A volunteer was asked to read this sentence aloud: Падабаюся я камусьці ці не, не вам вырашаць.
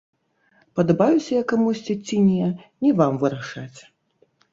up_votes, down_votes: 0, 2